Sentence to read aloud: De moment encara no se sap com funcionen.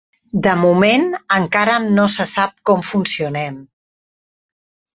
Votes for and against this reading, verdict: 0, 4, rejected